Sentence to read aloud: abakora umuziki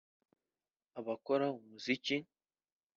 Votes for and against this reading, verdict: 2, 0, accepted